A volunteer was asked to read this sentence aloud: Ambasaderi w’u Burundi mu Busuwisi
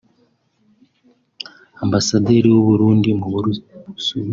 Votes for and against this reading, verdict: 0, 2, rejected